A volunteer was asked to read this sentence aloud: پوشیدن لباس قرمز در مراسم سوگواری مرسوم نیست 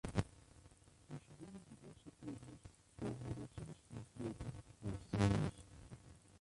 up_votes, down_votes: 0, 2